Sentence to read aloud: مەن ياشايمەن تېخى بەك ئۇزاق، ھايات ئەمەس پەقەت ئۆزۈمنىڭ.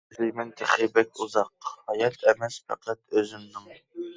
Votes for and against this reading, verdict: 0, 2, rejected